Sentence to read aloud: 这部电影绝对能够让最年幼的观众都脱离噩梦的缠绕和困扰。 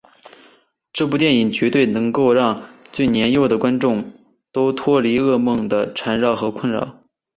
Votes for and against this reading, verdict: 2, 0, accepted